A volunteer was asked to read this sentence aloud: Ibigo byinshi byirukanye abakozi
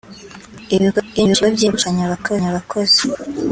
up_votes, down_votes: 1, 2